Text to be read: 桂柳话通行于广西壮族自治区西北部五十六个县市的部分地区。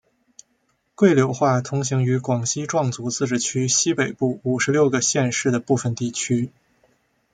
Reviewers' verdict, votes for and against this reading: accepted, 2, 0